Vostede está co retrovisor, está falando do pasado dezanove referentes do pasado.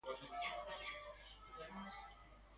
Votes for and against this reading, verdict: 0, 2, rejected